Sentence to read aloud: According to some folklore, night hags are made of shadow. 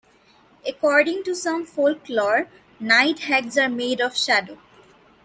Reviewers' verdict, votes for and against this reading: accepted, 2, 1